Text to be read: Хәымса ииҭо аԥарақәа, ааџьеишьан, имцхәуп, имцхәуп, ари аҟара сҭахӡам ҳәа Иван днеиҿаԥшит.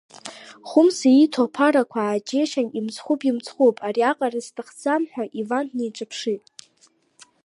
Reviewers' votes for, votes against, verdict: 2, 0, accepted